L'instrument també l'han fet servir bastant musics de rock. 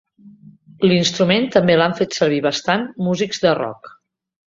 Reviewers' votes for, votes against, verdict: 3, 0, accepted